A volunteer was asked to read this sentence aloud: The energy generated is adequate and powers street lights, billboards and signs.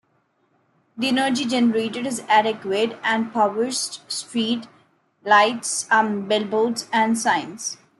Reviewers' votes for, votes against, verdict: 0, 2, rejected